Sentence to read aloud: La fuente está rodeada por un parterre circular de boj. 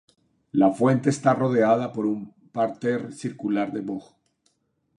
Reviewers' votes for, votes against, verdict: 0, 2, rejected